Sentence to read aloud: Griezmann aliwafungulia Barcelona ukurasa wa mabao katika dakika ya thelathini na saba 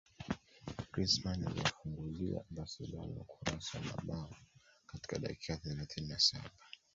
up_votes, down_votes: 0, 2